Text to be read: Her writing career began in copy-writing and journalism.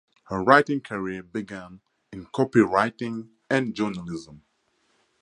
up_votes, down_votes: 4, 0